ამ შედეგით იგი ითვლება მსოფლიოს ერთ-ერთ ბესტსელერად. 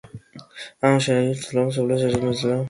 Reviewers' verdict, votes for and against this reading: rejected, 0, 2